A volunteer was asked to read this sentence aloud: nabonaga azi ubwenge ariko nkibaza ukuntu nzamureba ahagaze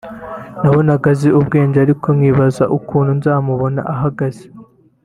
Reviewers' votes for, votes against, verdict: 1, 2, rejected